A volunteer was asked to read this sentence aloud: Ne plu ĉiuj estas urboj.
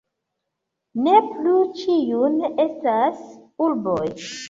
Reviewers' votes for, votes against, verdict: 1, 2, rejected